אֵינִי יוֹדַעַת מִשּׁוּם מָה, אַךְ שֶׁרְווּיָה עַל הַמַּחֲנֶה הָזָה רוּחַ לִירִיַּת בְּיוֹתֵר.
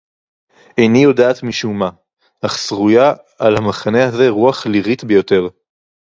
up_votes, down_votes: 0, 2